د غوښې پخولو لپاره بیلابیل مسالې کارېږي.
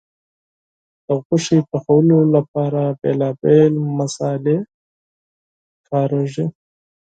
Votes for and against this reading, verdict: 0, 4, rejected